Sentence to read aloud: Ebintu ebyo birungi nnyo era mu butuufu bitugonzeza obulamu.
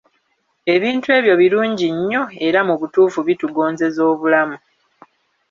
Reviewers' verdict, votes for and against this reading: accepted, 2, 0